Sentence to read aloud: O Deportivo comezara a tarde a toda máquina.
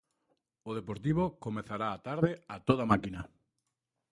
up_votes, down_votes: 1, 2